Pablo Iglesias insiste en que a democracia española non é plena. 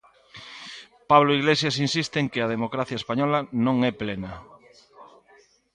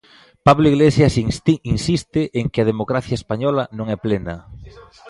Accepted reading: first